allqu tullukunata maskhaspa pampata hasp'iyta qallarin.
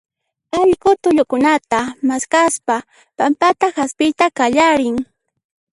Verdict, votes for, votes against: rejected, 1, 2